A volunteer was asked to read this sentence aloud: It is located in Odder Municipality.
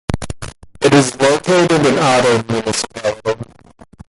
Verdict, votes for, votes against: rejected, 0, 2